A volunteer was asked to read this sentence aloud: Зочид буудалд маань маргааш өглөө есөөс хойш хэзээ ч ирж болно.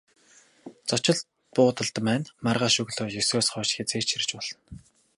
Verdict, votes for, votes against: accepted, 4, 0